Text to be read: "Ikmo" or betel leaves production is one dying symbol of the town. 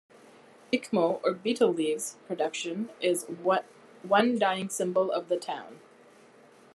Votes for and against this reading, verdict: 1, 2, rejected